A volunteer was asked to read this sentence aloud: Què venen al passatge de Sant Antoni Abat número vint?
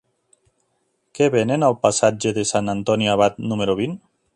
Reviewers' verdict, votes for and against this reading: accepted, 4, 0